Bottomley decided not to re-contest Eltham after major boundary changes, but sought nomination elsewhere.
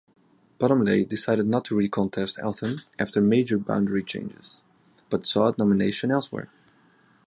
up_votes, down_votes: 2, 0